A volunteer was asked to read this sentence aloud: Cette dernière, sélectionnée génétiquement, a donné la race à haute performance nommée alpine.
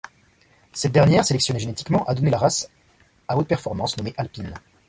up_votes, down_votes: 2, 0